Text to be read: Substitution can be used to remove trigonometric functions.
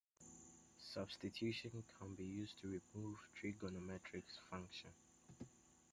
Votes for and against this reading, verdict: 1, 2, rejected